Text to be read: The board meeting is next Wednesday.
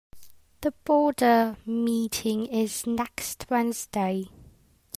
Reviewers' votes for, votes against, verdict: 0, 2, rejected